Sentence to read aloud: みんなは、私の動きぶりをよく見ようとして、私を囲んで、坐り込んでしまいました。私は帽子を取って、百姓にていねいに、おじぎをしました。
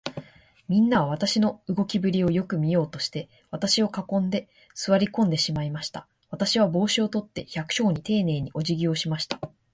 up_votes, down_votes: 2, 0